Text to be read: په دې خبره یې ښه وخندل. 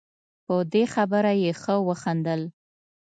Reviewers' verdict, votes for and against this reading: accepted, 2, 0